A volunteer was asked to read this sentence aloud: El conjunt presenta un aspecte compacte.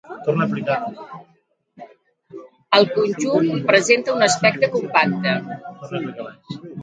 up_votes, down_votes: 0, 2